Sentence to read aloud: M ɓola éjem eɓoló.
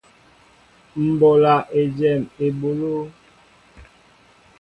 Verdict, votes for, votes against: accepted, 2, 0